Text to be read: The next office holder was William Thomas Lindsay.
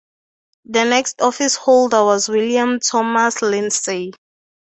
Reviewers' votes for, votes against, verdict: 0, 2, rejected